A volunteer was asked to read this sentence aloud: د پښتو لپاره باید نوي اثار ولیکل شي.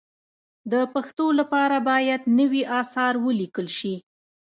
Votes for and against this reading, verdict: 0, 2, rejected